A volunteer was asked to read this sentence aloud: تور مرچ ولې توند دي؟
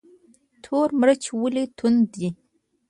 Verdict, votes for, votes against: rejected, 1, 2